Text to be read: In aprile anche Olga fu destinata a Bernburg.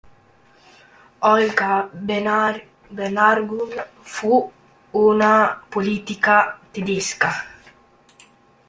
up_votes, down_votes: 0, 2